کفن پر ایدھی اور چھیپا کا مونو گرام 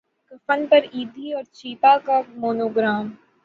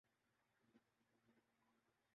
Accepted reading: first